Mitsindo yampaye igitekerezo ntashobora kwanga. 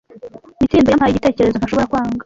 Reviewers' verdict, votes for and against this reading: rejected, 0, 2